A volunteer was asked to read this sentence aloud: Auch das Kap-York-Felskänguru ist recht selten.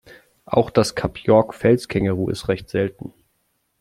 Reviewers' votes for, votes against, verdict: 2, 0, accepted